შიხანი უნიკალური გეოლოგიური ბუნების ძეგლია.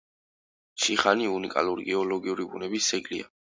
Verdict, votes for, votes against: accepted, 3, 0